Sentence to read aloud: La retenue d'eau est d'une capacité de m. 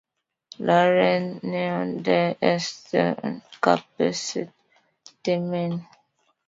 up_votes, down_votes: 1, 2